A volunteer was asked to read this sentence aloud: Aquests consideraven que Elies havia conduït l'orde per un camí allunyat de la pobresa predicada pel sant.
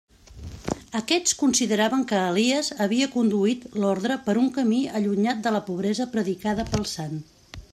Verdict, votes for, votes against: rejected, 1, 2